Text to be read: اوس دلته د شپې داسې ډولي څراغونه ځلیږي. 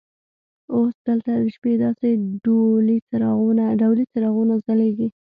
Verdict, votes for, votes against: rejected, 1, 2